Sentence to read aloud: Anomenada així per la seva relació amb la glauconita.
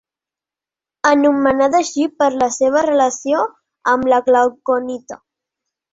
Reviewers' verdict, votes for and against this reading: accepted, 2, 0